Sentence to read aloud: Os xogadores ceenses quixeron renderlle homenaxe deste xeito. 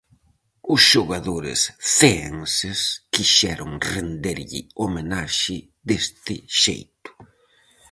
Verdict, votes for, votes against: accepted, 4, 0